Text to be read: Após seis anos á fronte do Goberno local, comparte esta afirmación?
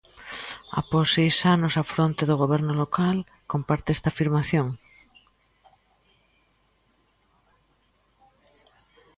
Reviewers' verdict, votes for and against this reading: accepted, 2, 0